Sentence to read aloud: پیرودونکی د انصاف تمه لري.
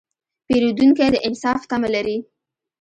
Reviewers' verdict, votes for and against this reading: accepted, 2, 0